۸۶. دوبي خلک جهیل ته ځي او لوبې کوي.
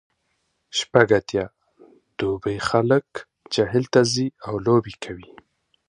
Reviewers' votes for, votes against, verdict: 0, 2, rejected